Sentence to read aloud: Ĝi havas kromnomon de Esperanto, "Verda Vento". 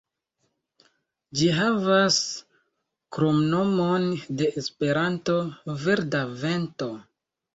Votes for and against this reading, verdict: 4, 0, accepted